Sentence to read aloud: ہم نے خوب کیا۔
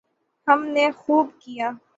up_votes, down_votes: 15, 0